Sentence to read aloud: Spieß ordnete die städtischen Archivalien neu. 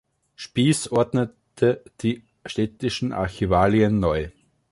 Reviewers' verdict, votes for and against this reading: rejected, 1, 2